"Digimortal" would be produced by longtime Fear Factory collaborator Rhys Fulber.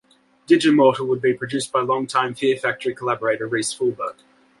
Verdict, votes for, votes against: accepted, 2, 0